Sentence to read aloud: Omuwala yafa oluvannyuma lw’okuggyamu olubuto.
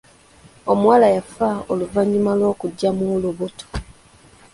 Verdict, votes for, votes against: accepted, 2, 0